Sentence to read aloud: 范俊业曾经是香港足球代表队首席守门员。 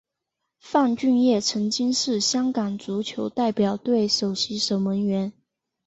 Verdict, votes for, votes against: accepted, 3, 1